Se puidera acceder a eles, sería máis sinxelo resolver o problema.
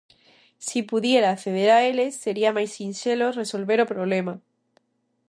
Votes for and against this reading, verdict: 0, 2, rejected